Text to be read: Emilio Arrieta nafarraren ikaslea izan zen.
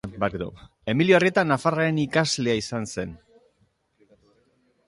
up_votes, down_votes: 2, 0